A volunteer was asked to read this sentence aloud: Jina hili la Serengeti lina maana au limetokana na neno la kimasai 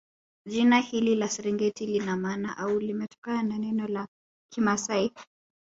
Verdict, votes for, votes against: rejected, 0, 2